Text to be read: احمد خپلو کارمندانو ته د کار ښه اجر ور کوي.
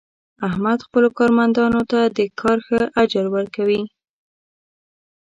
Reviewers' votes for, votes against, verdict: 2, 0, accepted